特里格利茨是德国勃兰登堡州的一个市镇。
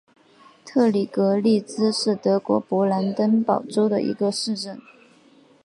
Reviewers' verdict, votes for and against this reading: rejected, 1, 2